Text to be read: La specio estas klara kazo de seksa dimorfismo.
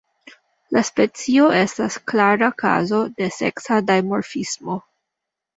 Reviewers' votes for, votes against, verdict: 0, 2, rejected